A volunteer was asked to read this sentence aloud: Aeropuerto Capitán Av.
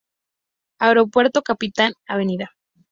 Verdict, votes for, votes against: accepted, 2, 0